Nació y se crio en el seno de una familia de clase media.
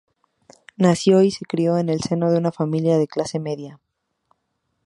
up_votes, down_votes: 2, 0